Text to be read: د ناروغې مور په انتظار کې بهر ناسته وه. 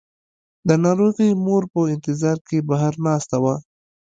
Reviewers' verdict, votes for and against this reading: accepted, 2, 0